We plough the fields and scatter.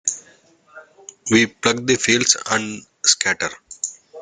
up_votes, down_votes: 0, 2